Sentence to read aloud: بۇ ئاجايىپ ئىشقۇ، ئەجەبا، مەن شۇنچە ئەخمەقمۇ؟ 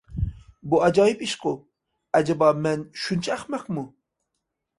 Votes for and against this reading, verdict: 2, 0, accepted